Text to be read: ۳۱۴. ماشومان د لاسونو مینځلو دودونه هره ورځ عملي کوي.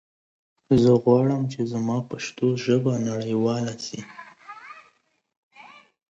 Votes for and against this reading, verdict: 0, 2, rejected